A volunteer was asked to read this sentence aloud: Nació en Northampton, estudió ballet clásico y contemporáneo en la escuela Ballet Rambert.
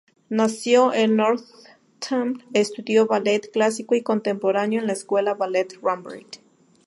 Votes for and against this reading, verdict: 2, 0, accepted